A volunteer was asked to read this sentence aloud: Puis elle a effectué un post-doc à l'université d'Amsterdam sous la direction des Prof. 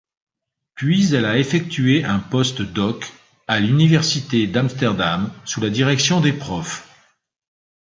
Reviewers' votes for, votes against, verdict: 2, 0, accepted